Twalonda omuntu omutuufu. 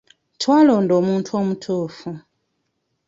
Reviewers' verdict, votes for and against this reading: accepted, 2, 0